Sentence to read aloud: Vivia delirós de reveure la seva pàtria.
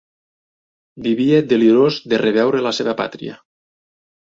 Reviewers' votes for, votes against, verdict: 2, 0, accepted